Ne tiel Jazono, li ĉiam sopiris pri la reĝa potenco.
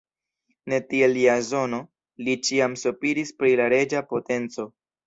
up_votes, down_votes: 2, 0